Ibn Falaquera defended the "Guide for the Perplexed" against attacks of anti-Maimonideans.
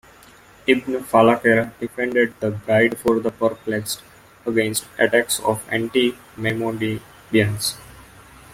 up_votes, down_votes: 0, 2